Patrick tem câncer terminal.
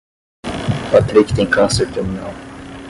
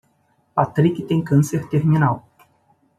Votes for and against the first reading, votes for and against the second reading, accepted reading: 5, 5, 2, 0, second